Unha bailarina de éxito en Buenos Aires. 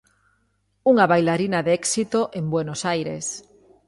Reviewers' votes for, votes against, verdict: 2, 0, accepted